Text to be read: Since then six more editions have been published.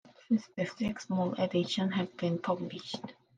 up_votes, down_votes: 0, 2